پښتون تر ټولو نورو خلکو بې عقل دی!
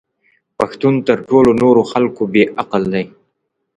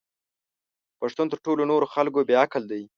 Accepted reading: first